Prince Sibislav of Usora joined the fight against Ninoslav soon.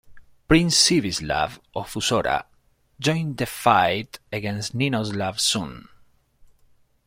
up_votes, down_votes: 1, 2